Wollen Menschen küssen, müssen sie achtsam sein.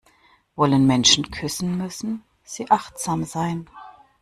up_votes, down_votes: 1, 2